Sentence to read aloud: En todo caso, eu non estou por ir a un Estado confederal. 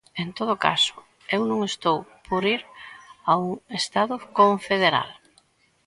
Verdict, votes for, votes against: accepted, 2, 1